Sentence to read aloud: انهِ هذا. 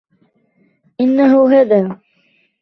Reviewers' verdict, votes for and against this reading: rejected, 1, 2